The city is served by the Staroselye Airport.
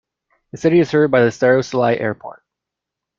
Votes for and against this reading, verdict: 2, 0, accepted